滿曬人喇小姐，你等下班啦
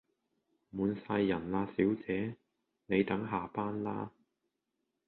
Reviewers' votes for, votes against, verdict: 2, 0, accepted